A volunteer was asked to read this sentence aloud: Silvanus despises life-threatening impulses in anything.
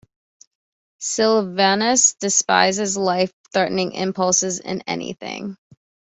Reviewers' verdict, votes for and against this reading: accepted, 2, 0